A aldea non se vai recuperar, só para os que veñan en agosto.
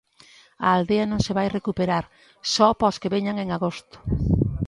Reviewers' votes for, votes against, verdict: 2, 1, accepted